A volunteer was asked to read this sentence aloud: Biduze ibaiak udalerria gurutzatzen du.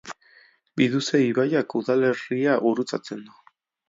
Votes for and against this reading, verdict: 2, 0, accepted